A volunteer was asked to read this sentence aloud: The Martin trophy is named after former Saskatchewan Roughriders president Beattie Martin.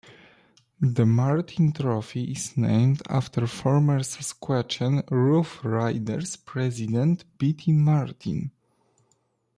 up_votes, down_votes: 1, 2